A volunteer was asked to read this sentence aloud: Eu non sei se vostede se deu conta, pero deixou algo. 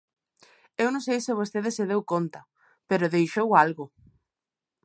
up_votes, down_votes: 2, 0